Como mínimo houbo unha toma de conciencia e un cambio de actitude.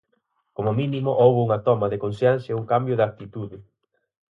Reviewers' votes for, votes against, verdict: 4, 0, accepted